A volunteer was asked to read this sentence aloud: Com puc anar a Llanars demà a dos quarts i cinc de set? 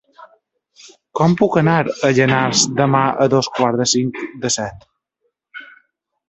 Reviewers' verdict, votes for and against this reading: rejected, 1, 2